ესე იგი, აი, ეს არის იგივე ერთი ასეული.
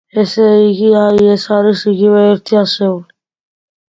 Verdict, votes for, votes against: accepted, 2, 0